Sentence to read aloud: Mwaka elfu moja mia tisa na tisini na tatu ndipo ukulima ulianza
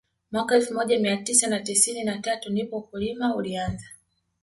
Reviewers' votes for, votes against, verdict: 2, 0, accepted